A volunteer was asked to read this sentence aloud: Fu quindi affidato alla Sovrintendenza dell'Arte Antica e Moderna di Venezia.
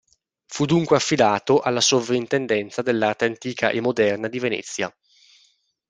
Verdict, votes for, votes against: rejected, 1, 2